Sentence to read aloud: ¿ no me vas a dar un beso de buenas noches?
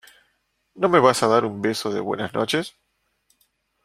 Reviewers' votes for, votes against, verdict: 2, 0, accepted